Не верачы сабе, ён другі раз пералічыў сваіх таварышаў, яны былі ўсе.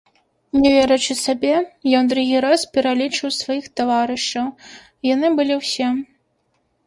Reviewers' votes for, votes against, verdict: 0, 3, rejected